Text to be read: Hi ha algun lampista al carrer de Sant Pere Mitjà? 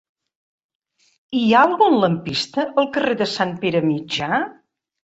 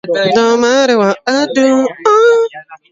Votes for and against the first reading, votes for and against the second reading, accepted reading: 3, 1, 1, 2, first